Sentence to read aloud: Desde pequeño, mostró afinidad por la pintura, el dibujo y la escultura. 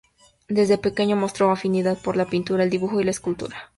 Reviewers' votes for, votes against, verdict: 2, 0, accepted